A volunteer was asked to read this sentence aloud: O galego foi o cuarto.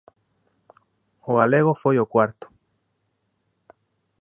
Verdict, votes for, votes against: accepted, 2, 0